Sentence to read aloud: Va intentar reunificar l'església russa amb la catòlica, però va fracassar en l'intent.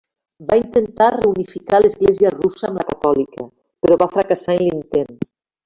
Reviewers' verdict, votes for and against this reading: rejected, 0, 2